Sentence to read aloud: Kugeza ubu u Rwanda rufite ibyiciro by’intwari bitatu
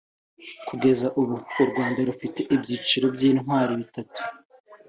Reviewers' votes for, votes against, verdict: 4, 0, accepted